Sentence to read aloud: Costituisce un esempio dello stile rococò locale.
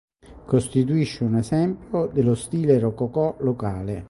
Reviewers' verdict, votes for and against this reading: accepted, 3, 1